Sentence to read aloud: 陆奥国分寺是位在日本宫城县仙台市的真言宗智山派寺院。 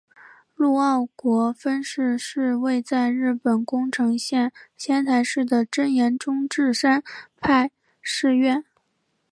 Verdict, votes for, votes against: accepted, 5, 0